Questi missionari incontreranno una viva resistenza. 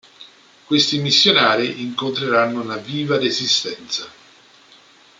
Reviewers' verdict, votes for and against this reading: accepted, 2, 0